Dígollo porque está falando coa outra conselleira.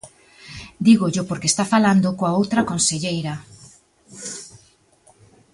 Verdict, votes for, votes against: accepted, 2, 0